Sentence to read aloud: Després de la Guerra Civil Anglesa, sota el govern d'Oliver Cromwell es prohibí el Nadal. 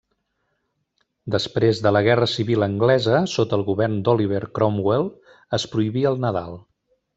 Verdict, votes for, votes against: accepted, 3, 1